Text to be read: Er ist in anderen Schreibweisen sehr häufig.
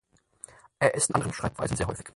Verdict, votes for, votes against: rejected, 0, 4